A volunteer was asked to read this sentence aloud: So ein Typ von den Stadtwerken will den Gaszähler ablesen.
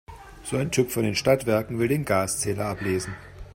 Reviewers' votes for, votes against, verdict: 2, 0, accepted